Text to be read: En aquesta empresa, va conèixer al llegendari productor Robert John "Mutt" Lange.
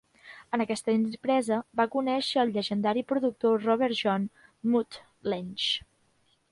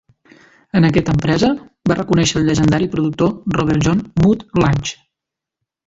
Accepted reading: first